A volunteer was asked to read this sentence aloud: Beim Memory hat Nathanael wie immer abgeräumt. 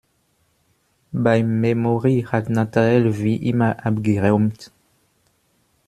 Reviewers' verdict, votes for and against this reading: accepted, 2, 1